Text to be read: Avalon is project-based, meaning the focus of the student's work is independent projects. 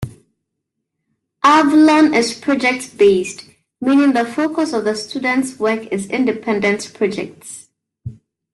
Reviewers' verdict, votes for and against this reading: accepted, 2, 0